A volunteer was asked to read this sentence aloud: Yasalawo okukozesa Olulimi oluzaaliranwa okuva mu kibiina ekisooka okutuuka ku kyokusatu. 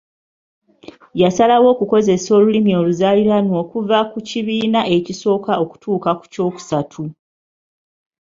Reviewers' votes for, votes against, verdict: 0, 2, rejected